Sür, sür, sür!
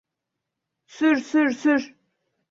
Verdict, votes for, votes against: accepted, 2, 0